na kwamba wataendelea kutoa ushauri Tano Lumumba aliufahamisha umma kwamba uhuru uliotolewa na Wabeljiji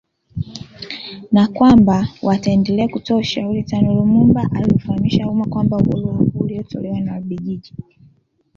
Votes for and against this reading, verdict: 2, 1, accepted